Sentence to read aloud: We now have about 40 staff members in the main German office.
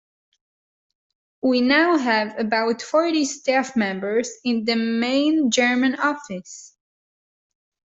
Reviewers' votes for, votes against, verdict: 0, 2, rejected